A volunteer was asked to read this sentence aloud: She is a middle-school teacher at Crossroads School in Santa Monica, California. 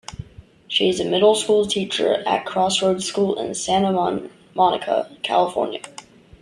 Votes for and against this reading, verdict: 0, 2, rejected